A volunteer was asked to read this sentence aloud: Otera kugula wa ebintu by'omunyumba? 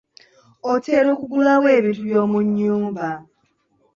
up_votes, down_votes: 2, 0